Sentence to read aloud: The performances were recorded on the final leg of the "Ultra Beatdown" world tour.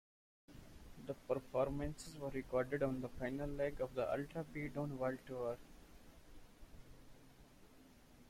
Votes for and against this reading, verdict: 0, 2, rejected